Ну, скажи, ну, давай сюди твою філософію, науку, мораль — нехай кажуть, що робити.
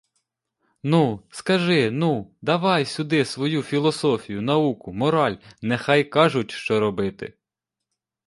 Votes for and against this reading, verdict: 0, 2, rejected